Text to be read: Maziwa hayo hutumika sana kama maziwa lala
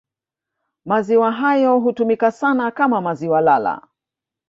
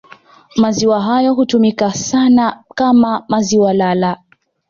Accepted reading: second